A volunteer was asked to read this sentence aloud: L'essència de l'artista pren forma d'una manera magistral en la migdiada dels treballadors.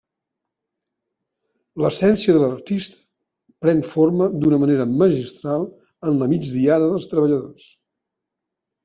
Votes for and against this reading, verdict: 1, 2, rejected